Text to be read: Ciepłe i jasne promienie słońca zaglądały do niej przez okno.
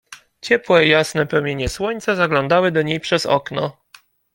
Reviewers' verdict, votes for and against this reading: accepted, 2, 0